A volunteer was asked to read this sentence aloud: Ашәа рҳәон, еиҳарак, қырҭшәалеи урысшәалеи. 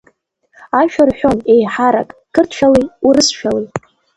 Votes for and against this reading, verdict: 2, 1, accepted